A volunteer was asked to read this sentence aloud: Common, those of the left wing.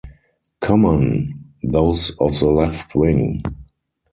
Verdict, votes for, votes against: rejected, 2, 2